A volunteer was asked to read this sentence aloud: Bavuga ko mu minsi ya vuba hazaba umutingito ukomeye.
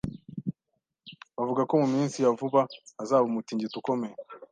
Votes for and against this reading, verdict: 2, 0, accepted